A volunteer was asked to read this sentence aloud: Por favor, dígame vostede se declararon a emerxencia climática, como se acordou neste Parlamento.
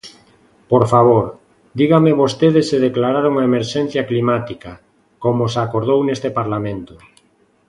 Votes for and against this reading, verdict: 2, 0, accepted